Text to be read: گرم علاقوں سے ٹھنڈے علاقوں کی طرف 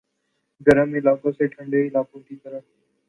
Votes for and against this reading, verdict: 1, 2, rejected